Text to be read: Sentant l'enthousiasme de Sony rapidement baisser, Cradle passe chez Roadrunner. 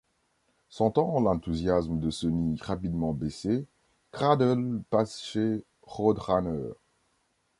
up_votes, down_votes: 1, 2